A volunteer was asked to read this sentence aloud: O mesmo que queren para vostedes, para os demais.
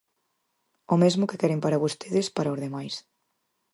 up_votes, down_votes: 4, 0